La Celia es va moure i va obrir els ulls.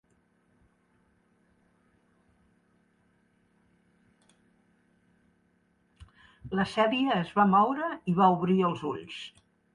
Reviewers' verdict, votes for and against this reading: rejected, 0, 2